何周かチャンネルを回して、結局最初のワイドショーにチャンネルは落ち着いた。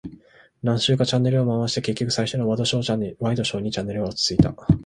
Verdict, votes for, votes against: rejected, 0, 2